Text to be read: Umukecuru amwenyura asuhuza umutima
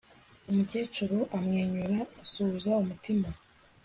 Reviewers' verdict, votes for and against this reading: accepted, 2, 0